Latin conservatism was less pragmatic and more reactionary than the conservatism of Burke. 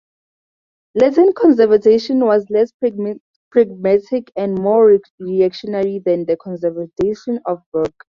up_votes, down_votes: 0, 4